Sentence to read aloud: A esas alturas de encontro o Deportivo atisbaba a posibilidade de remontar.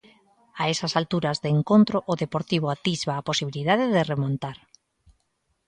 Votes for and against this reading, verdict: 0, 2, rejected